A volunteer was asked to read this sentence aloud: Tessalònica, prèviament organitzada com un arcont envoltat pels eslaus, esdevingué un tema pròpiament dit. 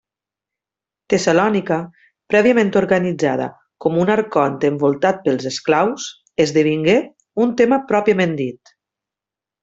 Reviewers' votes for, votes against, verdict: 1, 2, rejected